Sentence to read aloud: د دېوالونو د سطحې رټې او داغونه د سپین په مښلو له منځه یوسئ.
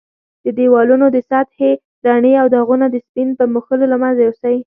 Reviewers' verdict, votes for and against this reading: rejected, 1, 2